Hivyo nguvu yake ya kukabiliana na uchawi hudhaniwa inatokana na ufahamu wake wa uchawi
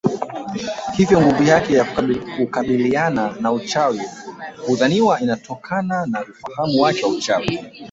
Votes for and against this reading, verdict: 2, 0, accepted